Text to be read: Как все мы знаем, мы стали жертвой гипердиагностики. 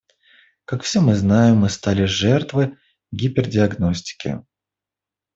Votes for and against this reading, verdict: 2, 0, accepted